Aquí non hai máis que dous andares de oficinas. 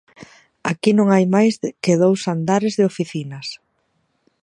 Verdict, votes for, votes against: rejected, 1, 2